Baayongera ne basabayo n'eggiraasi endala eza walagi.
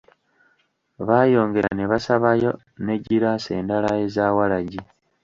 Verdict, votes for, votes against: rejected, 1, 2